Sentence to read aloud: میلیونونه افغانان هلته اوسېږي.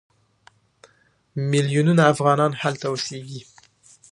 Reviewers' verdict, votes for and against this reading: rejected, 1, 2